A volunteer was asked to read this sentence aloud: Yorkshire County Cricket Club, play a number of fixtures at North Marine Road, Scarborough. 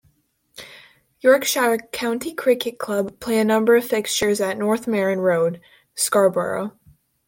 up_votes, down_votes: 2, 0